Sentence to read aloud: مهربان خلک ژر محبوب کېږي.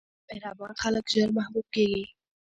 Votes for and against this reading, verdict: 3, 0, accepted